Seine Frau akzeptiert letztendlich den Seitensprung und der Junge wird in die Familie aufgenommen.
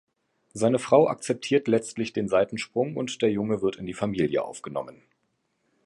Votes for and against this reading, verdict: 1, 2, rejected